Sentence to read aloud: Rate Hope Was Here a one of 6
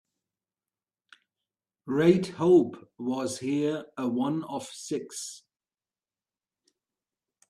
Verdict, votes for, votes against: rejected, 0, 2